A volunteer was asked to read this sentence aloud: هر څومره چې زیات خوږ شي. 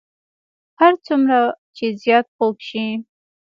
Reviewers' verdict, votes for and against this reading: accepted, 2, 1